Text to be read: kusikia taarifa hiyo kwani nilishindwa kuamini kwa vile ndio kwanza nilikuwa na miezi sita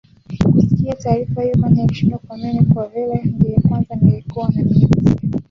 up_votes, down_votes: 0, 2